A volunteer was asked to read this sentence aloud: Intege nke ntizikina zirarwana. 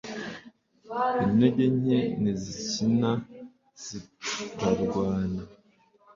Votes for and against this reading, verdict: 1, 2, rejected